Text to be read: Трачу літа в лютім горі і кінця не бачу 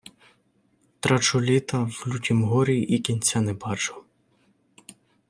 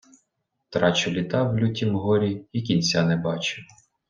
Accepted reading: second